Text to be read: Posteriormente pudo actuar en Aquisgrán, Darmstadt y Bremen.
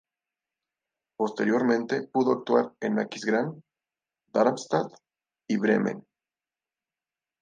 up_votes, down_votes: 0, 2